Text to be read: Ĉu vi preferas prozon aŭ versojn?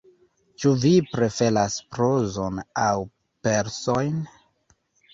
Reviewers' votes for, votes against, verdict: 1, 2, rejected